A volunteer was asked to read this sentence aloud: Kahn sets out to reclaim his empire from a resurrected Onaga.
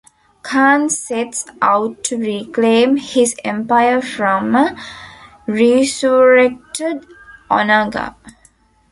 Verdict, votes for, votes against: rejected, 0, 2